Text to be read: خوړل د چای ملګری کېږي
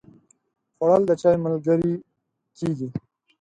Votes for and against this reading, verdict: 0, 4, rejected